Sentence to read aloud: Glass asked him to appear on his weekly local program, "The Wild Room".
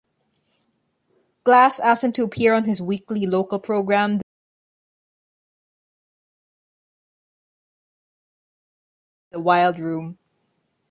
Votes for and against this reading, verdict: 1, 3, rejected